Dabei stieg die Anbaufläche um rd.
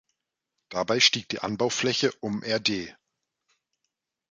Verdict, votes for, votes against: rejected, 0, 2